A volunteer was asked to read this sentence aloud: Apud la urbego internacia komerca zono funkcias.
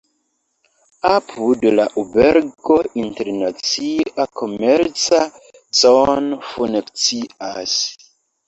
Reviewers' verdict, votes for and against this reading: rejected, 1, 2